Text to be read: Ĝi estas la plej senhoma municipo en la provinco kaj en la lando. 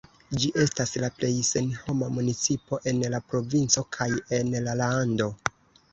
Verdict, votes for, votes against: accepted, 2, 1